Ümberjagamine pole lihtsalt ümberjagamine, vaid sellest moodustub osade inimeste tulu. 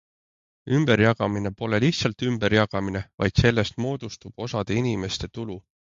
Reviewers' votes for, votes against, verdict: 3, 0, accepted